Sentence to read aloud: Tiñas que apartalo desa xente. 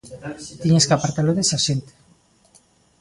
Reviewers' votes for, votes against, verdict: 1, 2, rejected